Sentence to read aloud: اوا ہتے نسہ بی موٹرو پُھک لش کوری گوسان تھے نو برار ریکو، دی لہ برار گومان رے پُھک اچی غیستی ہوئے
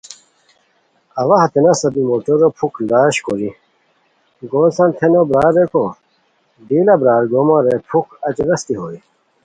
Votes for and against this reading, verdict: 2, 0, accepted